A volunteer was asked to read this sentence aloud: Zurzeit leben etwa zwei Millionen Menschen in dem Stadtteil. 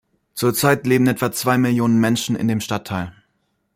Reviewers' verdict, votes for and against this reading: accepted, 2, 0